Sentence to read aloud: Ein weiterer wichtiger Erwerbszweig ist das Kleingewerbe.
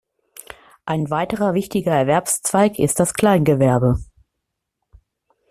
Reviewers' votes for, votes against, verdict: 2, 0, accepted